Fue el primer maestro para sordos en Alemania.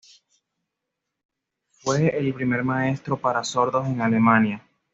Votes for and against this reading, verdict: 2, 0, accepted